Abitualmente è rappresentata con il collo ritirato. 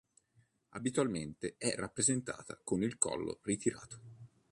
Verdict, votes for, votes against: accepted, 2, 0